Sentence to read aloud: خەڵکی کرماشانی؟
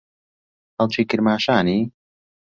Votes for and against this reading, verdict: 2, 0, accepted